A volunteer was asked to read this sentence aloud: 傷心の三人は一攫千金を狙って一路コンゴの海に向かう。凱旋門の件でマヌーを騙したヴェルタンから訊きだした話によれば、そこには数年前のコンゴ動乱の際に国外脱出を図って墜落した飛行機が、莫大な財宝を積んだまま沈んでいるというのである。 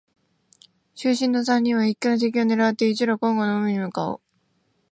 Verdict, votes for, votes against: rejected, 0, 2